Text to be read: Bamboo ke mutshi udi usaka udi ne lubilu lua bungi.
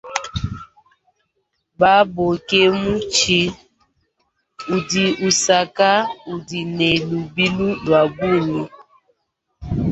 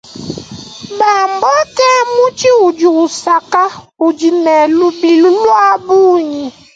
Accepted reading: second